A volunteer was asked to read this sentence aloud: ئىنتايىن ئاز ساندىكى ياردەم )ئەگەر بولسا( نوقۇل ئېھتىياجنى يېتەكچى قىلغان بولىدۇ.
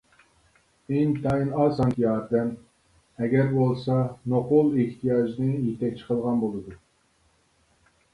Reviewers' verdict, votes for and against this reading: rejected, 0, 2